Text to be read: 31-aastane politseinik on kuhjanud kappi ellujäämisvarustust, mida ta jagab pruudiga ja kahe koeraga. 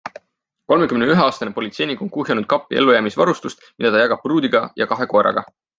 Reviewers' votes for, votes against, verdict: 0, 2, rejected